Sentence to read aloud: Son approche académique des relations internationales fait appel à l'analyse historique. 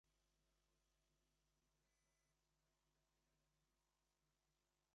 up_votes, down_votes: 0, 2